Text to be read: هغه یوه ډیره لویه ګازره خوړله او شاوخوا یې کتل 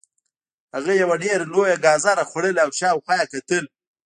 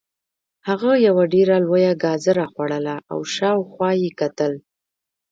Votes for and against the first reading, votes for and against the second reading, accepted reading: 2, 0, 1, 2, first